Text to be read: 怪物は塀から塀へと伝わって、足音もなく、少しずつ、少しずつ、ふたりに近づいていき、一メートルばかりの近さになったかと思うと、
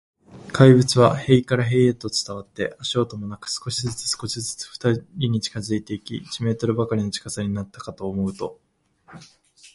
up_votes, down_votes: 0, 2